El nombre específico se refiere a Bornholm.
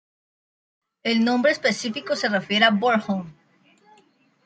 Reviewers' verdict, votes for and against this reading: accepted, 2, 0